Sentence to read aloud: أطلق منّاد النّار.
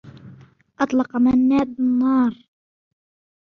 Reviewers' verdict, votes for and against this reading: accepted, 2, 1